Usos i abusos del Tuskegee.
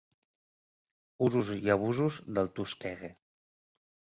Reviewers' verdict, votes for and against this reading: rejected, 1, 2